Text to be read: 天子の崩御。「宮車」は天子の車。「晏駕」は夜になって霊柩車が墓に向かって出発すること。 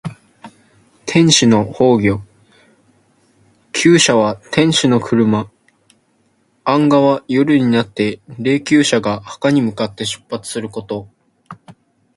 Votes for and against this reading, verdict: 2, 0, accepted